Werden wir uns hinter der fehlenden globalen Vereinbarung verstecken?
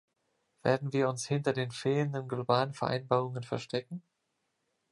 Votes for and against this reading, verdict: 0, 2, rejected